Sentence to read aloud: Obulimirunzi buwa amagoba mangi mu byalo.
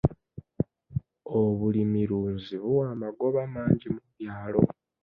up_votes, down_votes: 1, 2